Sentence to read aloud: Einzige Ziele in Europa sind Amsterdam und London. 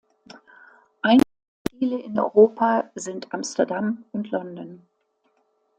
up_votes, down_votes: 1, 2